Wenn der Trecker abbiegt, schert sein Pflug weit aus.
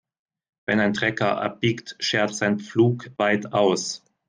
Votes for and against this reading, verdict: 1, 2, rejected